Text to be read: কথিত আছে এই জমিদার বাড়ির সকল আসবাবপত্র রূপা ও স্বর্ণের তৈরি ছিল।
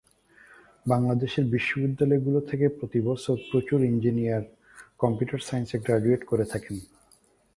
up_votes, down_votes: 0, 2